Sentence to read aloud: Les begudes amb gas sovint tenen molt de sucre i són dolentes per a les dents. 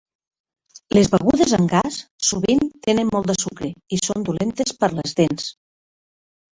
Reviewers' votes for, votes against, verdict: 1, 2, rejected